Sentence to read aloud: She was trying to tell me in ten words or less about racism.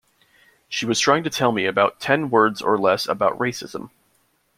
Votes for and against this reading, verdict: 0, 2, rejected